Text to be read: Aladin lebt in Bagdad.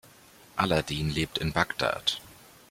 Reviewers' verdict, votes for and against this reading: accepted, 2, 0